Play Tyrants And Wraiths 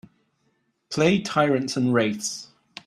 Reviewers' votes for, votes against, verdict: 3, 0, accepted